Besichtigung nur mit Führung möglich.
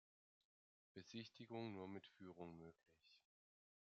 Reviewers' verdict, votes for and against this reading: rejected, 1, 2